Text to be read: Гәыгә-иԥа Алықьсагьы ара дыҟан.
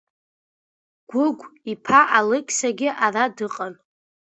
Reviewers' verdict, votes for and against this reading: accepted, 2, 0